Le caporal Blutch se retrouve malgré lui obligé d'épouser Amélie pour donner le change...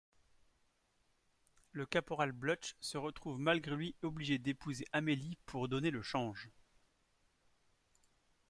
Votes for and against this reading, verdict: 1, 2, rejected